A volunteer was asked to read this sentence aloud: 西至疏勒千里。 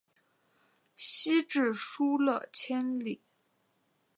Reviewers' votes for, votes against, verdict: 2, 1, accepted